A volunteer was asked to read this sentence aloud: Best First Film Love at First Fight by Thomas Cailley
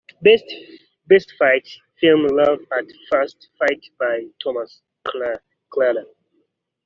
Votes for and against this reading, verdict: 1, 2, rejected